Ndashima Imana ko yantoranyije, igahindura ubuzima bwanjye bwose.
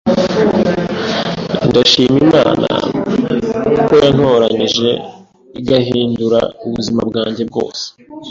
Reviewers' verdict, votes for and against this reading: accepted, 2, 0